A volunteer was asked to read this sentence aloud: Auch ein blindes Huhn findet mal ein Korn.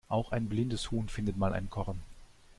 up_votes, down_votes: 2, 0